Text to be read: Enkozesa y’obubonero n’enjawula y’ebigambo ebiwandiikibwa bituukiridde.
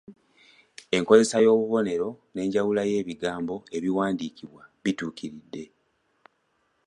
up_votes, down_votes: 2, 0